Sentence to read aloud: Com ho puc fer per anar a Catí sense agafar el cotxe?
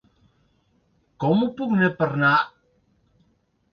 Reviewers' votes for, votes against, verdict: 0, 2, rejected